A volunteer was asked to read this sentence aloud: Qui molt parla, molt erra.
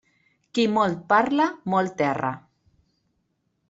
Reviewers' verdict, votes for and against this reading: accepted, 2, 0